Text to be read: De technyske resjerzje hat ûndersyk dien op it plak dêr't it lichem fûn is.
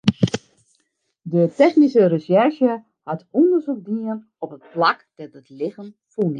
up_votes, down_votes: 0, 2